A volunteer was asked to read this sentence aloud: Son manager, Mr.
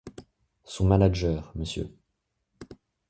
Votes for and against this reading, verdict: 2, 0, accepted